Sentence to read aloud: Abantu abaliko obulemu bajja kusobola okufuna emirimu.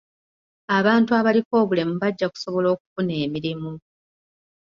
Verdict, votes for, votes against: rejected, 1, 2